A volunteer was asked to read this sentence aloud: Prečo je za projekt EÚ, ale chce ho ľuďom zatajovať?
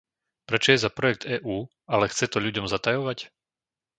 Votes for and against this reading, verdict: 0, 2, rejected